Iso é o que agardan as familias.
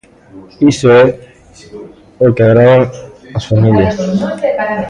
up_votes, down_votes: 0, 2